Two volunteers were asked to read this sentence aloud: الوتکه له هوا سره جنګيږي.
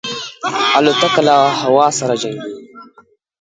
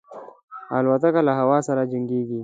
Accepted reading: second